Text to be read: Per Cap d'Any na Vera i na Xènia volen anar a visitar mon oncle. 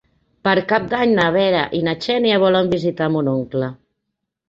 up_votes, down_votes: 0, 2